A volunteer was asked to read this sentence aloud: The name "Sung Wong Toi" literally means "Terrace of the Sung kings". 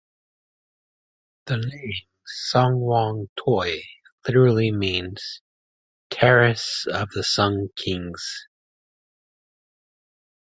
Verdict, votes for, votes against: rejected, 0, 2